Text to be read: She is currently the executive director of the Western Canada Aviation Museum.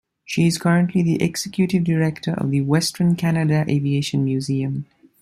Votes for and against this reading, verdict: 2, 0, accepted